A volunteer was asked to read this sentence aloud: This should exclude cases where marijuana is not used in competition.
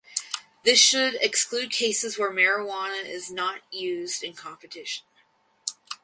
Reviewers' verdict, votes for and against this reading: accepted, 4, 0